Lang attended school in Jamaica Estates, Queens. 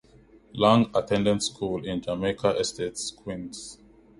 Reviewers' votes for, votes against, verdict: 2, 0, accepted